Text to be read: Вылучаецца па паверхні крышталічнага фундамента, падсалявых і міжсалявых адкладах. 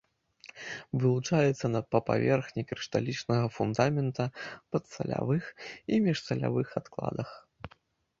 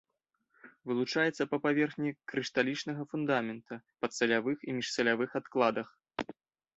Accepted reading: second